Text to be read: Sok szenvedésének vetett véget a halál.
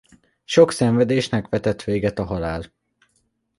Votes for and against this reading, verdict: 1, 2, rejected